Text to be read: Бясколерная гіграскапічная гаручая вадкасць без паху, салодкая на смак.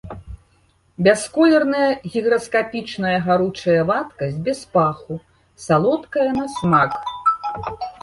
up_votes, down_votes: 1, 2